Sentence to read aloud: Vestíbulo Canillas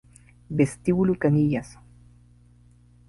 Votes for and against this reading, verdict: 2, 0, accepted